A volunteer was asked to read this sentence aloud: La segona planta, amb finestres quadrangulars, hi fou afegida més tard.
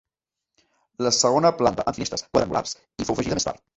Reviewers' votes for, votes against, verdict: 0, 2, rejected